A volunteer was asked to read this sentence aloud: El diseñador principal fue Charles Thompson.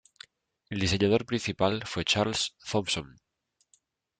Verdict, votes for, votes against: accepted, 2, 0